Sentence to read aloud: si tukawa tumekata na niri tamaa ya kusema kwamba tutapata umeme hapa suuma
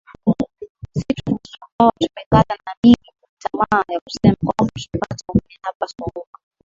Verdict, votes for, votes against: rejected, 0, 2